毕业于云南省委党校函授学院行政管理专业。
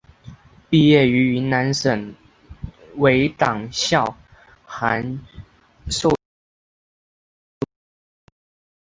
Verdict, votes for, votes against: rejected, 1, 2